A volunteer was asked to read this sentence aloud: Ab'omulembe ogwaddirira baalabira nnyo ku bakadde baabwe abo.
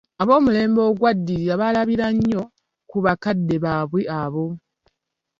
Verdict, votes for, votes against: accepted, 2, 1